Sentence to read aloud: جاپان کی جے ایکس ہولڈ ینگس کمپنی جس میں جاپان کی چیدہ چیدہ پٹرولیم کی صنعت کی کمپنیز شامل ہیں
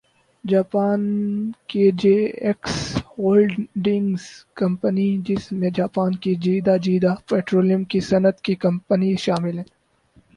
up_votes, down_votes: 6, 4